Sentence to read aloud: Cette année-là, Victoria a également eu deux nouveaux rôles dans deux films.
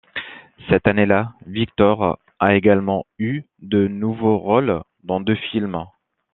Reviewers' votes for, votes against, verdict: 0, 2, rejected